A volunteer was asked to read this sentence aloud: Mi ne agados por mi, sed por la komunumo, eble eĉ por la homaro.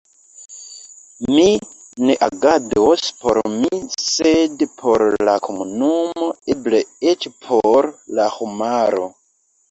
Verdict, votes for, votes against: accepted, 2, 1